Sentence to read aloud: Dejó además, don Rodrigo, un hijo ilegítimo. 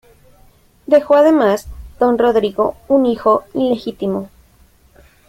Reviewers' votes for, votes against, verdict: 2, 0, accepted